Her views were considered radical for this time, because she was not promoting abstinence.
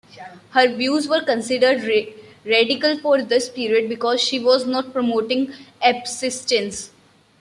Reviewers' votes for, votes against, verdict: 1, 2, rejected